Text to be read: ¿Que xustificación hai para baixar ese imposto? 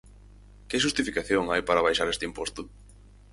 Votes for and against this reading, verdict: 0, 4, rejected